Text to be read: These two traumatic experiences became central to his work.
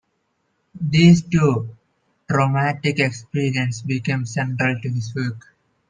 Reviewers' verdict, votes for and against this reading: rejected, 0, 2